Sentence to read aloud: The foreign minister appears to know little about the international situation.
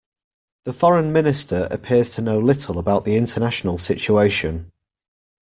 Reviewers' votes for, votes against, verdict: 2, 0, accepted